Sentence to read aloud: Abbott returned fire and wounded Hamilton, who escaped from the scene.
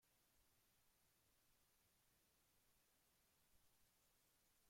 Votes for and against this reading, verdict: 0, 2, rejected